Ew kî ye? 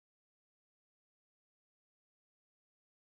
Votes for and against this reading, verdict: 0, 2, rejected